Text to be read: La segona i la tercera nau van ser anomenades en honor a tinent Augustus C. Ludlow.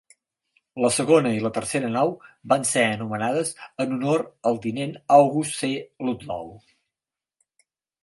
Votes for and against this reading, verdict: 6, 9, rejected